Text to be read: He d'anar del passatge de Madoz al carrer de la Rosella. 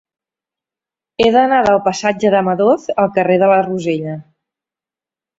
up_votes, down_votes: 4, 0